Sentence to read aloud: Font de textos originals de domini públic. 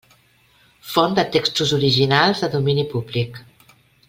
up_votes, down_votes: 3, 0